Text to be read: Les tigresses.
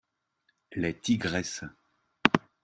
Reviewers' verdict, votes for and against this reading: accepted, 2, 0